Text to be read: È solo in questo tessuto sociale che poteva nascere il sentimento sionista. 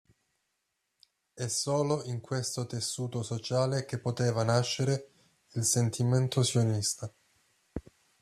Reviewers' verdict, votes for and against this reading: accepted, 2, 0